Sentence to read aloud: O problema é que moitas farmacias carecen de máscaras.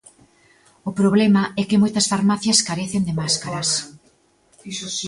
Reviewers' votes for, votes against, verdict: 2, 0, accepted